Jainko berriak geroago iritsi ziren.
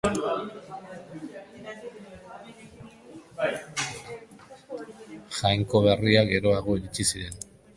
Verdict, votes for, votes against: rejected, 0, 2